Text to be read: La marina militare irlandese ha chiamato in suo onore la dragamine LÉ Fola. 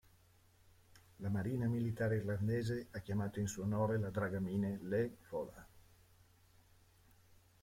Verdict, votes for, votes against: accepted, 2, 0